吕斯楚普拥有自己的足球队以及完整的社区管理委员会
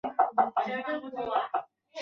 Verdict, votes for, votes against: rejected, 1, 2